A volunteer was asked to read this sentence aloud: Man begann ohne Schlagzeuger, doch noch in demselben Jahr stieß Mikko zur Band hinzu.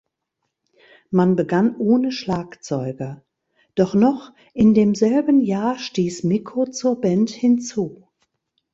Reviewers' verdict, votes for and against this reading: accepted, 2, 0